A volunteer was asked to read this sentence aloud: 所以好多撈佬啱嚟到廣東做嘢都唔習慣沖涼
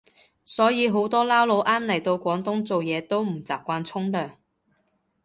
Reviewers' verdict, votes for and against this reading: accepted, 2, 0